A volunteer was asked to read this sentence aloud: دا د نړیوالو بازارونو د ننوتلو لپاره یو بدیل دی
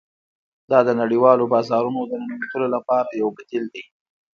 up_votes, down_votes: 2, 1